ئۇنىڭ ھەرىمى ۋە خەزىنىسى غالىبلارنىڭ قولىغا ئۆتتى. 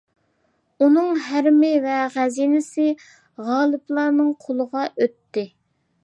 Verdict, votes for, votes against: accepted, 2, 0